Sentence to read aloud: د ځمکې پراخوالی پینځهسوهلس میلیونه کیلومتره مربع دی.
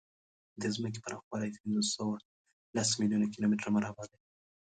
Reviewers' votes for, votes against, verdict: 2, 0, accepted